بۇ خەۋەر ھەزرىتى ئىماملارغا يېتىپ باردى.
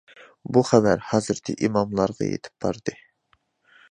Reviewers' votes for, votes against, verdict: 2, 0, accepted